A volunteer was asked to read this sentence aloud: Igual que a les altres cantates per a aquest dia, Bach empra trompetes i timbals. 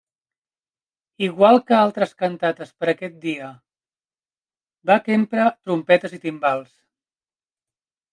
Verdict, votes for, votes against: rejected, 1, 2